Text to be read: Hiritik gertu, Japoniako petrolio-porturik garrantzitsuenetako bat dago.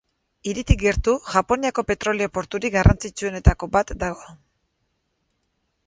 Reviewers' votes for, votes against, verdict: 4, 0, accepted